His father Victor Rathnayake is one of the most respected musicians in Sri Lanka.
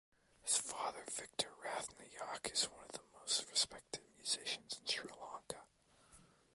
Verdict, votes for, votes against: rejected, 0, 2